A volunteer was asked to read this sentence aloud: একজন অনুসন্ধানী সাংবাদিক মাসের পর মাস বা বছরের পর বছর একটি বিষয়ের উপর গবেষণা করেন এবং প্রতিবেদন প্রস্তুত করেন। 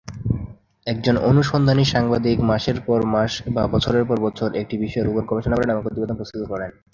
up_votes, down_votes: 3, 3